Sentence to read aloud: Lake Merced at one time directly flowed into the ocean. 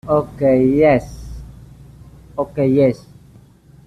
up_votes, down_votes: 0, 2